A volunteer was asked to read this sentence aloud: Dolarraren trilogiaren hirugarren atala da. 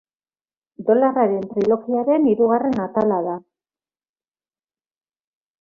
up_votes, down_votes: 0, 2